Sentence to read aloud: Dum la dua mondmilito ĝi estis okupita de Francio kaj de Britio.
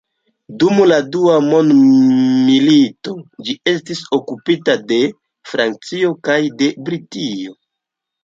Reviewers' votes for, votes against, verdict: 2, 0, accepted